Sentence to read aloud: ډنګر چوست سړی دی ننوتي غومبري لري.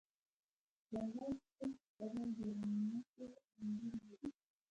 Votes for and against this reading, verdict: 1, 2, rejected